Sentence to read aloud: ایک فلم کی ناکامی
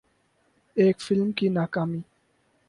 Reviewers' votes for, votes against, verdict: 4, 0, accepted